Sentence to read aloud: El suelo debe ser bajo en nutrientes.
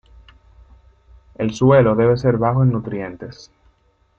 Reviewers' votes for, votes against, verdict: 2, 0, accepted